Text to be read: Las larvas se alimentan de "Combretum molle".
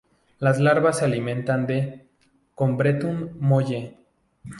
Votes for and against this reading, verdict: 0, 2, rejected